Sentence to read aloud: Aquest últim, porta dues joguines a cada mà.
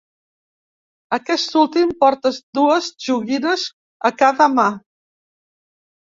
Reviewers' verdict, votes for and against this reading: rejected, 0, 2